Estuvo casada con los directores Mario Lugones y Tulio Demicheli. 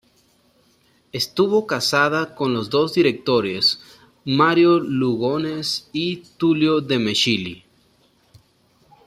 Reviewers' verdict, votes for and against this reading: rejected, 0, 2